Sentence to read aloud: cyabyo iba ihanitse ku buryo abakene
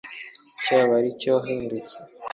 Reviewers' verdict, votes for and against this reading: rejected, 0, 2